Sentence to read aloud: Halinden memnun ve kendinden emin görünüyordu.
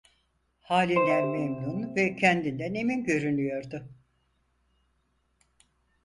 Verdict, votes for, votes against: rejected, 2, 4